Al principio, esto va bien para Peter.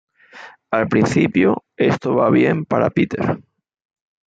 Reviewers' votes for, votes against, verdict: 1, 2, rejected